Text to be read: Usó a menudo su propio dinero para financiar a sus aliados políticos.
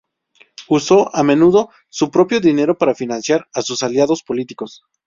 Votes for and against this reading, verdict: 2, 0, accepted